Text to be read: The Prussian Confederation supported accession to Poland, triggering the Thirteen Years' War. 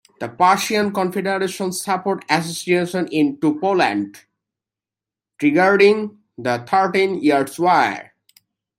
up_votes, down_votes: 0, 2